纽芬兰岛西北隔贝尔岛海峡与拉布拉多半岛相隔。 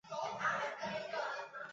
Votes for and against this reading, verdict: 0, 4, rejected